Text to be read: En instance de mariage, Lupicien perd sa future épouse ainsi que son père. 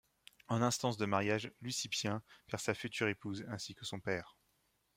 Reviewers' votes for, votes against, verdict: 1, 2, rejected